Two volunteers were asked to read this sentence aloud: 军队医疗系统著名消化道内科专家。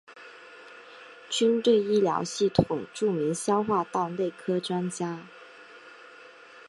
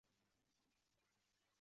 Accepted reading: first